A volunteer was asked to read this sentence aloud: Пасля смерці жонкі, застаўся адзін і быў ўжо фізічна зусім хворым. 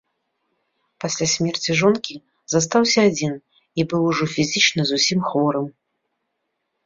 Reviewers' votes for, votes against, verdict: 2, 0, accepted